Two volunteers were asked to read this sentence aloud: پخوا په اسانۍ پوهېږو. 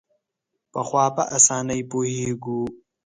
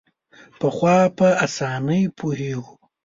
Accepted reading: first